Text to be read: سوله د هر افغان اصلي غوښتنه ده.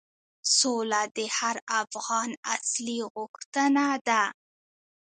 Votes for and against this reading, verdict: 0, 2, rejected